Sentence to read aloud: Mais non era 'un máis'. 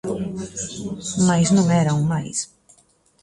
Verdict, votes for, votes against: rejected, 1, 2